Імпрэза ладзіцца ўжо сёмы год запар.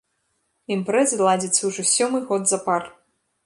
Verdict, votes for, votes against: accepted, 2, 1